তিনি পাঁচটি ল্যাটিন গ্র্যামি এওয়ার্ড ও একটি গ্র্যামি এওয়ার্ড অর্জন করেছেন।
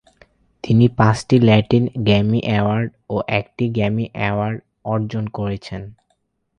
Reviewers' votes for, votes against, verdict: 4, 0, accepted